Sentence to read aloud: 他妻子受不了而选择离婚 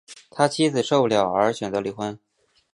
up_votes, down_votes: 2, 0